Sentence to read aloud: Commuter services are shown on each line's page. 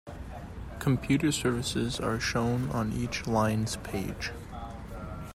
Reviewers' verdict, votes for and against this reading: accepted, 2, 1